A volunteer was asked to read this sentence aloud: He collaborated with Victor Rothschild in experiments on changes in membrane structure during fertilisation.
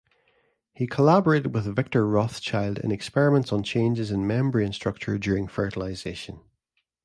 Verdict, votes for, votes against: accepted, 2, 0